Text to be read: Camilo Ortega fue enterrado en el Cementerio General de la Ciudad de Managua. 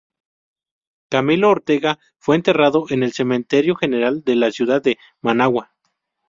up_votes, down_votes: 0, 2